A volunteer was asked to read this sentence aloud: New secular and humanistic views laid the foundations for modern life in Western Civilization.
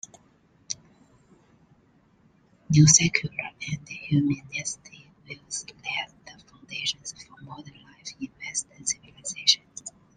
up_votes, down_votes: 0, 2